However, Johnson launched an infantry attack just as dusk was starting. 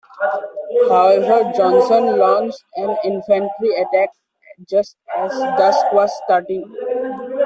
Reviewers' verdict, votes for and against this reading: rejected, 0, 2